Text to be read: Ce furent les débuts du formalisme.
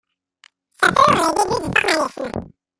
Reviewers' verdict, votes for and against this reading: rejected, 0, 2